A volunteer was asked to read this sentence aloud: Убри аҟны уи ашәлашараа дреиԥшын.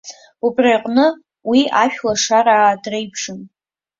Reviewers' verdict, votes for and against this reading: rejected, 1, 2